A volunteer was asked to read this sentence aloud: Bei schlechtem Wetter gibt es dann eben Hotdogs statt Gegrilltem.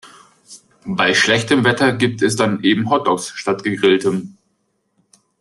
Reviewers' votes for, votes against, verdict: 3, 0, accepted